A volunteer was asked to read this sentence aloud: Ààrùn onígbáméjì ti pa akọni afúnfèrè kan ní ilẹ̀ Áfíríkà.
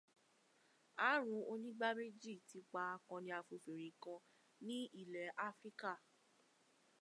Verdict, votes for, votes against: rejected, 0, 2